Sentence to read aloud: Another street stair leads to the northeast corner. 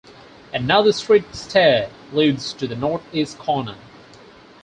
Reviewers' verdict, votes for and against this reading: accepted, 4, 0